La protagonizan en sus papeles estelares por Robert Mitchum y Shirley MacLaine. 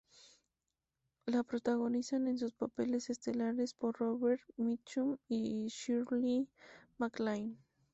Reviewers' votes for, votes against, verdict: 2, 0, accepted